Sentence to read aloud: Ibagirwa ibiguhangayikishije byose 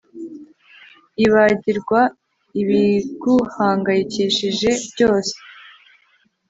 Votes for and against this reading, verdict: 3, 0, accepted